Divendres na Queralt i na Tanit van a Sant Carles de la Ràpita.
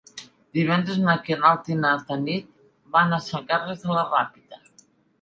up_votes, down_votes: 2, 0